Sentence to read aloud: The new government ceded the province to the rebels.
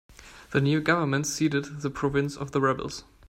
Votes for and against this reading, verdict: 0, 2, rejected